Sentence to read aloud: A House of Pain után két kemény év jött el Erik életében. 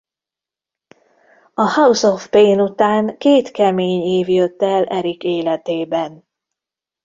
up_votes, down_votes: 0, 2